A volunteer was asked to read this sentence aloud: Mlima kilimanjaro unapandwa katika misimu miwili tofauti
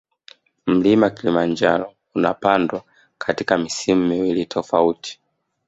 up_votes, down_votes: 1, 2